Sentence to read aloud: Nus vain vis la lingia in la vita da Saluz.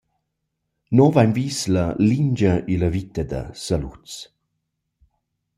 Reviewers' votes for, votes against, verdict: 2, 0, accepted